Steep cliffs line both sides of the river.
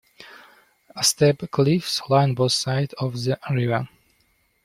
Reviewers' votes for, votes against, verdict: 1, 2, rejected